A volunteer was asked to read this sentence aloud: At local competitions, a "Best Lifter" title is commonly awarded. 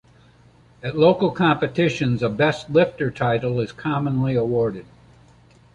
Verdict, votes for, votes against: accepted, 2, 0